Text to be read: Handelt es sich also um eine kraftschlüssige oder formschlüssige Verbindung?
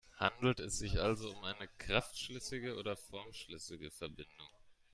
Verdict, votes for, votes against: rejected, 1, 2